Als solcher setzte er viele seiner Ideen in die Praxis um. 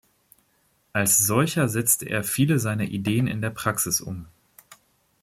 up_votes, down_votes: 1, 2